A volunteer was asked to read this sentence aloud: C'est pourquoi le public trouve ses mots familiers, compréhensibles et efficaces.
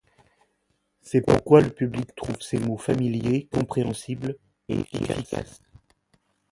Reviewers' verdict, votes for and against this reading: accepted, 2, 0